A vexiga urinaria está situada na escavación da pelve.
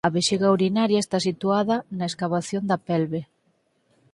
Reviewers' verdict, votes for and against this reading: accepted, 4, 0